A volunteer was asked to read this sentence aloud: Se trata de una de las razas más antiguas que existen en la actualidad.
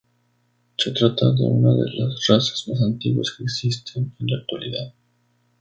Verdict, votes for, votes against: rejected, 0, 2